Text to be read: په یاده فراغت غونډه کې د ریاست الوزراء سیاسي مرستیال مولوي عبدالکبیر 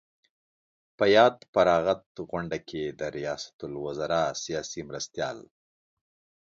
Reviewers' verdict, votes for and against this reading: rejected, 1, 2